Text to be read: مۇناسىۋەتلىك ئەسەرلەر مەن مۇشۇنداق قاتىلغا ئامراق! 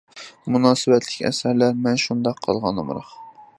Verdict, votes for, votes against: rejected, 0, 2